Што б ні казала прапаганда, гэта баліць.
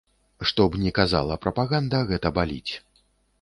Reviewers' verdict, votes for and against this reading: accepted, 2, 0